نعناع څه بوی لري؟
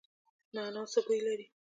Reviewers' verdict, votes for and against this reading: accepted, 2, 0